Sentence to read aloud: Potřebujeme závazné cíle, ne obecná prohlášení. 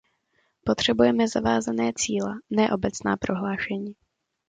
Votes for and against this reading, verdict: 0, 2, rejected